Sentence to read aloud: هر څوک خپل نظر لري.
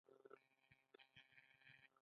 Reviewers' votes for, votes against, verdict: 1, 2, rejected